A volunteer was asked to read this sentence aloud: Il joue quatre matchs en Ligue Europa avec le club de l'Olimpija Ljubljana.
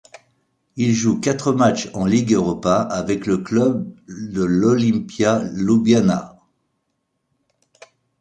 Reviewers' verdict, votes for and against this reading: rejected, 1, 2